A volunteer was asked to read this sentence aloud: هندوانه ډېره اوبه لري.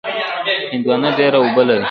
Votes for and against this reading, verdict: 0, 2, rejected